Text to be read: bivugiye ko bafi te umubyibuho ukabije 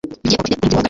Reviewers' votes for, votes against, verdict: 0, 2, rejected